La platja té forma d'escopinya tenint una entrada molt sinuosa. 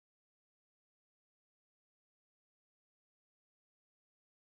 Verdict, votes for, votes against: rejected, 0, 2